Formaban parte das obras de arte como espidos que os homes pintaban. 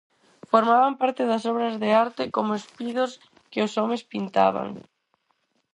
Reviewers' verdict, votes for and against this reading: accepted, 4, 0